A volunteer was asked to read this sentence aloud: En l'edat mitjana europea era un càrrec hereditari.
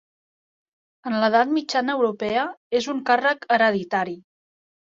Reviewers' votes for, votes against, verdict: 0, 2, rejected